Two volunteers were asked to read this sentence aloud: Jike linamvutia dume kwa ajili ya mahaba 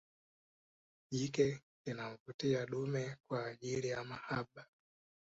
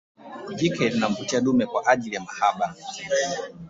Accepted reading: first